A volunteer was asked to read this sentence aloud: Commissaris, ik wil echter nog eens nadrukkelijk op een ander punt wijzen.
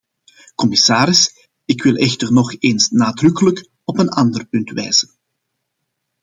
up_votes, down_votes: 2, 0